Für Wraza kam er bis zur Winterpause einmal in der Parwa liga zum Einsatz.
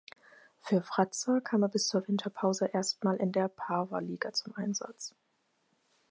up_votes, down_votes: 0, 4